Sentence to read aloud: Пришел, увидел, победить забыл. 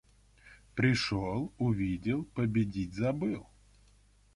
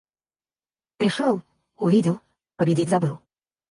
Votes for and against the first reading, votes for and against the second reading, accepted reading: 2, 0, 2, 2, first